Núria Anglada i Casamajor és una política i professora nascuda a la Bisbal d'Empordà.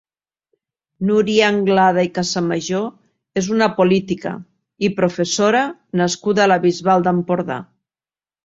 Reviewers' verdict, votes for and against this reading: accepted, 3, 0